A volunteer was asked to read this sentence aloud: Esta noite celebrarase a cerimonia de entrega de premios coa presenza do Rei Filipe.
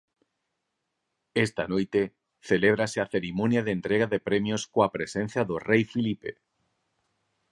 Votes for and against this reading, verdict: 0, 4, rejected